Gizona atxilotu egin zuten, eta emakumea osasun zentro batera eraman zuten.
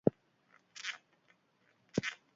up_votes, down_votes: 0, 2